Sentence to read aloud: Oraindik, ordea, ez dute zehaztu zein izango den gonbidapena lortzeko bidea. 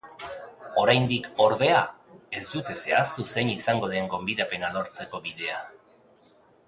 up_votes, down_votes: 6, 0